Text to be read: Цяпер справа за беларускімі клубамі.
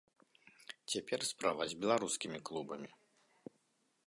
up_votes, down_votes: 1, 2